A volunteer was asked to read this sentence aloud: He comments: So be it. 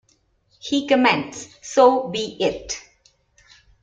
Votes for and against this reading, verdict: 2, 0, accepted